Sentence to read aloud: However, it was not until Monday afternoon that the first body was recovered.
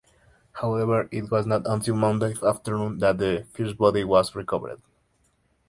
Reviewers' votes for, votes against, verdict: 2, 0, accepted